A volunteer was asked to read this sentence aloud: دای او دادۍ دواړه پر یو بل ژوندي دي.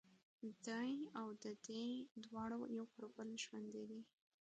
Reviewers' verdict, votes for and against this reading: rejected, 1, 2